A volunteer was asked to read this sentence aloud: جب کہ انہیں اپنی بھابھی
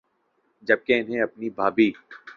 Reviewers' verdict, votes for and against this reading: accepted, 2, 0